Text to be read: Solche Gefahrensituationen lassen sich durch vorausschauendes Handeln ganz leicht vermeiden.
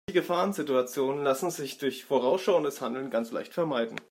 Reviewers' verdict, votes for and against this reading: rejected, 0, 2